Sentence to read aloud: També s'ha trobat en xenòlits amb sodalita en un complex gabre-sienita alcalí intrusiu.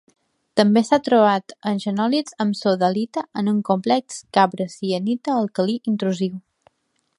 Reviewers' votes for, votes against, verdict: 2, 0, accepted